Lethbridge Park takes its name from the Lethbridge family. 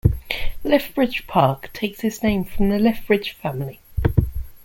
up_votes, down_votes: 2, 0